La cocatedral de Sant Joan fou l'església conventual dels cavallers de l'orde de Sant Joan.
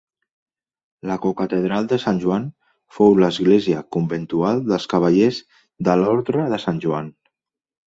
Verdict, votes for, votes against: rejected, 1, 2